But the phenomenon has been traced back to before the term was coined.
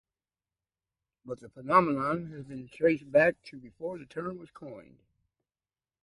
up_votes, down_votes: 2, 0